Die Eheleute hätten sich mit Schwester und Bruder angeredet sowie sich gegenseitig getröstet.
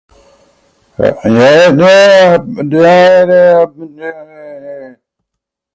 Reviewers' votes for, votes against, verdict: 0, 2, rejected